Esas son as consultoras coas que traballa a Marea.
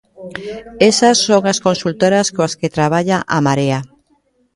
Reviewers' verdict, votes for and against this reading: rejected, 0, 2